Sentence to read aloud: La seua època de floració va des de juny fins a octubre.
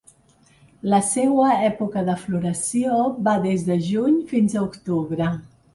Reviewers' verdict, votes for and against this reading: accepted, 3, 0